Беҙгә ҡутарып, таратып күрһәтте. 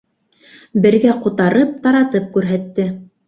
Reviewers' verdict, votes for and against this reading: accepted, 2, 1